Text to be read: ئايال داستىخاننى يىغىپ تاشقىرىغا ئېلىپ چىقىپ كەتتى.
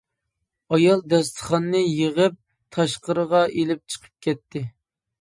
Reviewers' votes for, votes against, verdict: 2, 0, accepted